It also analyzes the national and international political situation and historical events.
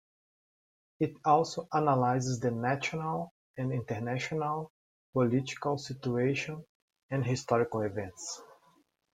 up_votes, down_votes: 2, 0